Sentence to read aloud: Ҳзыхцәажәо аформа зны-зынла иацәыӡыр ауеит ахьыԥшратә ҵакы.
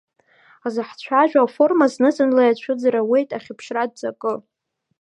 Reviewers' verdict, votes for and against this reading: rejected, 1, 2